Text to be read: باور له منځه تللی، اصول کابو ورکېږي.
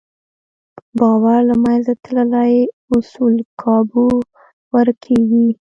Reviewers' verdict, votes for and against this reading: rejected, 1, 2